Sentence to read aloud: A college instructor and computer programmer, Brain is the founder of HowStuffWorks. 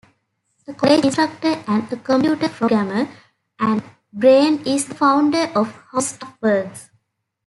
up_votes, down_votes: 0, 2